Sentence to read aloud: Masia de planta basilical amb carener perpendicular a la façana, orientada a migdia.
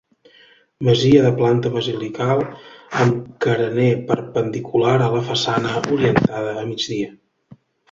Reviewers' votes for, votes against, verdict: 2, 0, accepted